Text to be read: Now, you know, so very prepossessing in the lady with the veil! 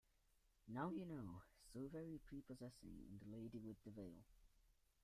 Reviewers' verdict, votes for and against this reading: rejected, 1, 2